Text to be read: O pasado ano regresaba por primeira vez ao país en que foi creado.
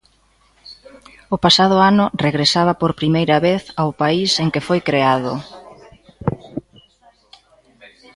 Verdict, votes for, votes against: rejected, 0, 2